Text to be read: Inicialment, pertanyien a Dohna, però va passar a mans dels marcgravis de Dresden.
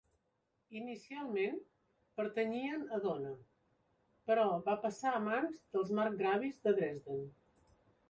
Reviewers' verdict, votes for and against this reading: accepted, 2, 0